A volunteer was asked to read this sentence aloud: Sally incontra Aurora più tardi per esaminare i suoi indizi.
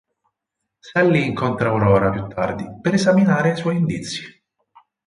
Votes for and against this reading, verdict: 4, 0, accepted